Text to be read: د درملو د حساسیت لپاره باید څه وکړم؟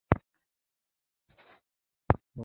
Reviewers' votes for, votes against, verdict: 1, 2, rejected